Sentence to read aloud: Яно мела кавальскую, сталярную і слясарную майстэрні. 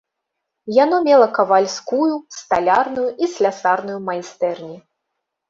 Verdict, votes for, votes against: rejected, 1, 2